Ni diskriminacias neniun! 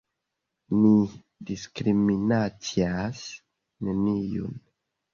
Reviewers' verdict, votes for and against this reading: rejected, 0, 2